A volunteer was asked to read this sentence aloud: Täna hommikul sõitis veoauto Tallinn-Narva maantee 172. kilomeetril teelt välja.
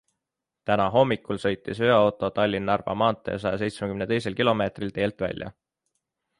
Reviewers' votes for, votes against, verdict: 0, 2, rejected